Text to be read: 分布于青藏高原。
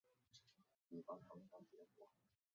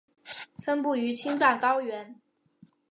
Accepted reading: second